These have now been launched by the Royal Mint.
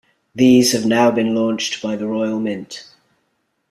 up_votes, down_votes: 2, 0